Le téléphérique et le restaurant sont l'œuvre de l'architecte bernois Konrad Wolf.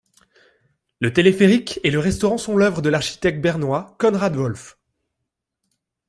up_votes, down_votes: 2, 0